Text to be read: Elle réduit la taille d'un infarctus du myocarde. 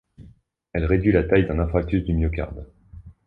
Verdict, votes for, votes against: rejected, 0, 2